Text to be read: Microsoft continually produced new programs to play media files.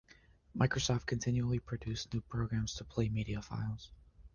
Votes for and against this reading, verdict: 2, 0, accepted